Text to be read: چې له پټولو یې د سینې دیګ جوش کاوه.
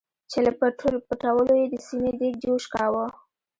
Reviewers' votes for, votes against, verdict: 1, 2, rejected